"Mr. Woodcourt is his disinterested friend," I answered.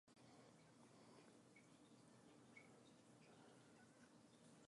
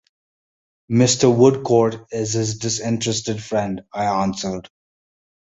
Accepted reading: second